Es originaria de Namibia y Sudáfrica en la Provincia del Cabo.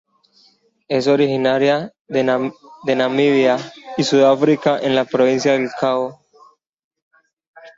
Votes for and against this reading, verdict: 0, 2, rejected